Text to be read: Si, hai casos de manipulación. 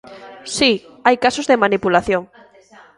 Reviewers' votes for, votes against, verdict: 1, 2, rejected